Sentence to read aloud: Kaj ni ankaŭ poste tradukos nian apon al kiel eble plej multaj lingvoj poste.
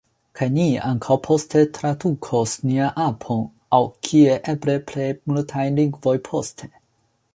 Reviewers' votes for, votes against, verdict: 0, 2, rejected